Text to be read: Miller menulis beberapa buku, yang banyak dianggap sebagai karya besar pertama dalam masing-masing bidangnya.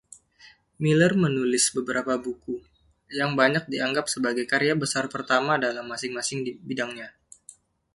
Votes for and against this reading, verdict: 0, 2, rejected